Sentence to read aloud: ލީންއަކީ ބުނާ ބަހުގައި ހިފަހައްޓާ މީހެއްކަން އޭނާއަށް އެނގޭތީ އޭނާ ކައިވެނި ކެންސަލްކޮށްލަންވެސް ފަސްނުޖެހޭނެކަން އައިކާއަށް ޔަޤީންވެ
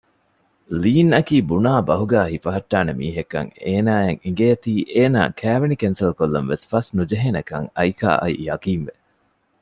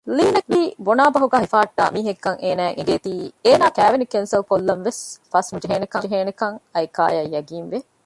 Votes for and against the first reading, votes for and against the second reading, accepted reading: 2, 0, 0, 2, first